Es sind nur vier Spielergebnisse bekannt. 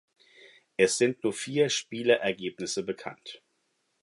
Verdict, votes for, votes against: rejected, 2, 4